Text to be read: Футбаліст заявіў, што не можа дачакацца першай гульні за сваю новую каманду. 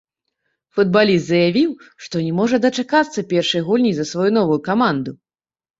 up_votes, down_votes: 0, 2